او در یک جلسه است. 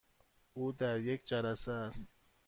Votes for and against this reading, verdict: 2, 0, accepted